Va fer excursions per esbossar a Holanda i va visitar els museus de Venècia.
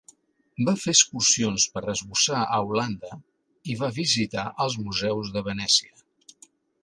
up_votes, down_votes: 3, 0